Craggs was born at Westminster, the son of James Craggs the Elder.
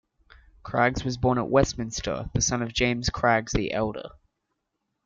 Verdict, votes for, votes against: accepted, 2, 0